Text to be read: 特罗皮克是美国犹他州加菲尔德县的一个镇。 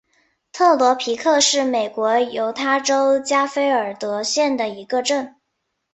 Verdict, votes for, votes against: accepted, 5, 0